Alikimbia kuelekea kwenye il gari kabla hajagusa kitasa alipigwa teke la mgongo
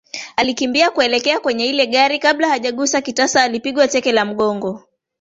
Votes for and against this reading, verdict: 0, 2, rejected